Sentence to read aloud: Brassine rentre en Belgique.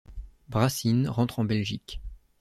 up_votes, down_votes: 2, 0